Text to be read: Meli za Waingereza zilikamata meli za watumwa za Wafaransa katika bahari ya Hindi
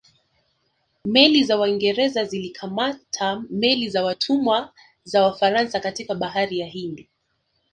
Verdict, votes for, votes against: accepted, 2, 0